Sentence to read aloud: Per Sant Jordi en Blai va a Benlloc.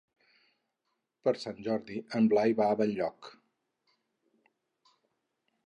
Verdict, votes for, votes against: accepted, 4, 0